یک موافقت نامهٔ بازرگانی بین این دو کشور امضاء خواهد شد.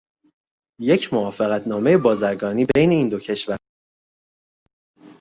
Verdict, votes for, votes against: rejected, 0, 2